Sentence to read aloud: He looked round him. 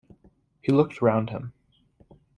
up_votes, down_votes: 2, 0